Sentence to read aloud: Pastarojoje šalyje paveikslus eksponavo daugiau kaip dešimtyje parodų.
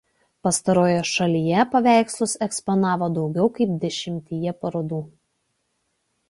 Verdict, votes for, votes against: accepted, 2, 0